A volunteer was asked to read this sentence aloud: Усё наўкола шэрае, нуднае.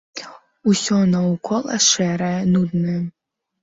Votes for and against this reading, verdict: 2, 0, accepted